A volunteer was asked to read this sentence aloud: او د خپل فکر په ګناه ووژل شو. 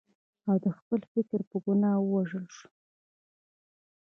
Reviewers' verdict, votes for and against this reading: accepted, 2, 0